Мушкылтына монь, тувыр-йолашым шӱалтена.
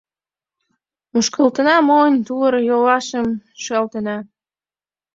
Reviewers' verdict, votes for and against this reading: accepted, 2, 0